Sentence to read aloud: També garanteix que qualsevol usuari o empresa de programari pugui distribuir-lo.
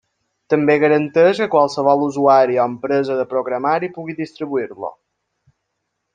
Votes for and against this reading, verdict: 2, 0, accepted